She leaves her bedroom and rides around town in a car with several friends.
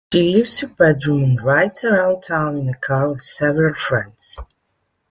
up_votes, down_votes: 1, 2